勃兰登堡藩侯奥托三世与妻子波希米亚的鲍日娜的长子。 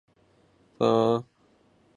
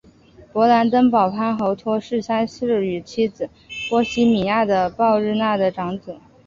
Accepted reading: second